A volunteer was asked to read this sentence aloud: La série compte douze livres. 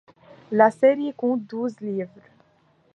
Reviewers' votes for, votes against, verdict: 2, 1, accepted